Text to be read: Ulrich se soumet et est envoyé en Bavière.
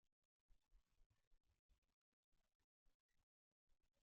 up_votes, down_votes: 0, 2